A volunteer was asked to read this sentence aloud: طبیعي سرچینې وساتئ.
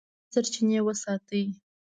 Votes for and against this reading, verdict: 1, 2, rejected